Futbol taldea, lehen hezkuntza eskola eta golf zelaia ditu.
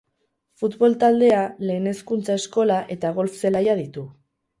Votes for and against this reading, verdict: 0, 2, rejected